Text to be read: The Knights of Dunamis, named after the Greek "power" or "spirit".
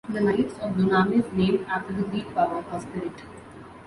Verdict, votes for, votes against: rejected, 0, 2